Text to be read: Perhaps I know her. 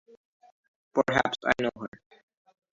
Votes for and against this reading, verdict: 0, 2, rejected